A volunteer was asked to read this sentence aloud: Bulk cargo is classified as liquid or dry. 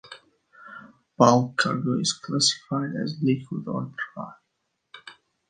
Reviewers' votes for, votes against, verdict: 2, 0, accepted